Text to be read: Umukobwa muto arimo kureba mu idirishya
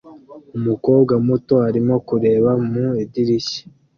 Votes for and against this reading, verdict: 2, 0, accepted